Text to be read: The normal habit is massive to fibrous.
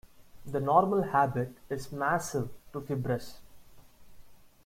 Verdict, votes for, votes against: rejected, 1, 2